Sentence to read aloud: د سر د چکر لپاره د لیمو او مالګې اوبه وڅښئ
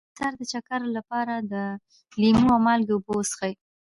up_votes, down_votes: 1, 2